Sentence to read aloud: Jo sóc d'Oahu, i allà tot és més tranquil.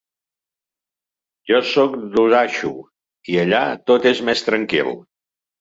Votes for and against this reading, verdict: 0, 2, rejected